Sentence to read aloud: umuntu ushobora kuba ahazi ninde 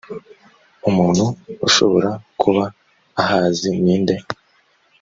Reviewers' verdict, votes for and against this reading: accepted, 2, 0